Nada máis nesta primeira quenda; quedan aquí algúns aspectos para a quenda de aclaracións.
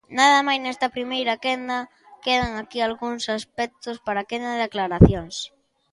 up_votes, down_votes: 2, 0